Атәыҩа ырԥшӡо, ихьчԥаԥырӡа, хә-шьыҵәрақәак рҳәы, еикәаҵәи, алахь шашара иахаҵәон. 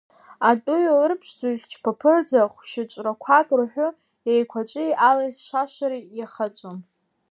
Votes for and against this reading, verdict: 2, 0, accepted